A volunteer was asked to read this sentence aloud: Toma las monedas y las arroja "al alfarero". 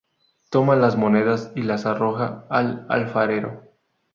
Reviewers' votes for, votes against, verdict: 2, 0, accepted